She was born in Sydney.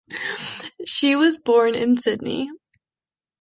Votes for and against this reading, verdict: 2, 0, accepted